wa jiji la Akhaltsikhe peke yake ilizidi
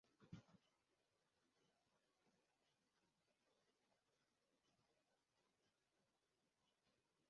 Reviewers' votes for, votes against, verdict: 0, 2, rejected